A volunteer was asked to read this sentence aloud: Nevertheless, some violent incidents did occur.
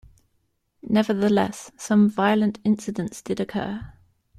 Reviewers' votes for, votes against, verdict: 2, 0, accepted